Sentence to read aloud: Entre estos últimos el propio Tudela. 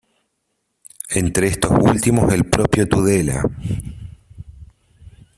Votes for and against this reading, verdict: 0, 2, rejected